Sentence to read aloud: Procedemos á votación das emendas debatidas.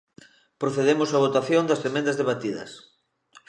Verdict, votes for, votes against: accepted, 2, 0